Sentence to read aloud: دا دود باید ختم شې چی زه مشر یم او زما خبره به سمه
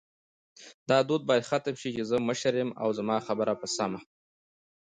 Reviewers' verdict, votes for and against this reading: accepted, 2, 0